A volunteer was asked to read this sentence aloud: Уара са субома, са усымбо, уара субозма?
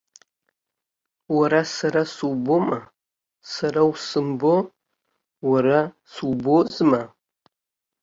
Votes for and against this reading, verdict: 1, 2, rejected